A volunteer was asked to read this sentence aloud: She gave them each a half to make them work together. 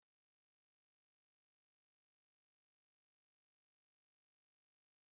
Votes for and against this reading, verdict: 0, 2, rejected